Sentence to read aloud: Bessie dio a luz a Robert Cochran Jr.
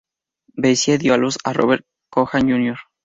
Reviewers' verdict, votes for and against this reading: rejected, 0, 2